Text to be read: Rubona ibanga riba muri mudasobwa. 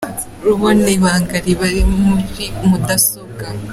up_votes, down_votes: 0, 2